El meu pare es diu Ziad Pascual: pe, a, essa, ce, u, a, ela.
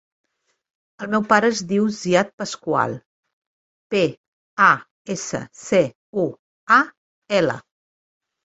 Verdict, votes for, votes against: accepted, 2, 1